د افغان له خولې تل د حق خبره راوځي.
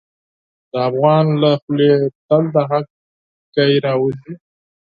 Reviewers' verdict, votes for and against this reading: rejected, 6, 12